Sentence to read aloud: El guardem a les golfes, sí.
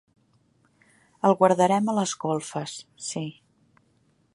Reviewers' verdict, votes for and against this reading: rejected, 0, 2